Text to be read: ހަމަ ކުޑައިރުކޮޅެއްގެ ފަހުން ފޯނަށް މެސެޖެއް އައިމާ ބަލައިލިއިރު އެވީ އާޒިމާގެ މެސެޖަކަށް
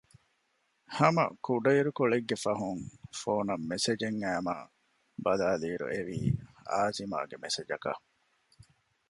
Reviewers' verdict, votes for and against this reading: accepted, 2, 0